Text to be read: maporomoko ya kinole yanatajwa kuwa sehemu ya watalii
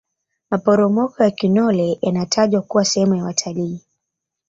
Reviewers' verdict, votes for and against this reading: rejected, 0, 2